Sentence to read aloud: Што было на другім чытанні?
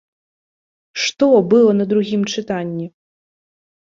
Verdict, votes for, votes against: rejected, 1, 2